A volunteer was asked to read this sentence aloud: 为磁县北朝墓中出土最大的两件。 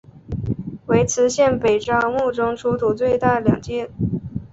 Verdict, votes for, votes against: accepted, 2, 1